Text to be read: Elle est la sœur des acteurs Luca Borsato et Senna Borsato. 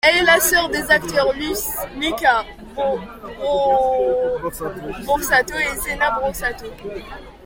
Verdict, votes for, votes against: rejected, 0, 2